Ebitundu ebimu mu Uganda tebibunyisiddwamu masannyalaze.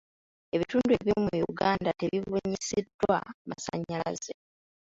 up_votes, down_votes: 0, 2